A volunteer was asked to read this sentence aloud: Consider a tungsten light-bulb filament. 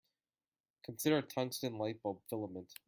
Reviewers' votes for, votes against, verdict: 2, 1, accepted